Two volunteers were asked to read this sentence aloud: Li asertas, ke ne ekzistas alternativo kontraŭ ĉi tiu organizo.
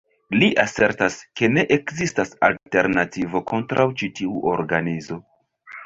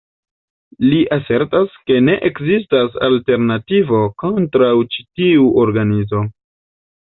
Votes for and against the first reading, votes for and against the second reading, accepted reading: 1, 2, 2, 0, second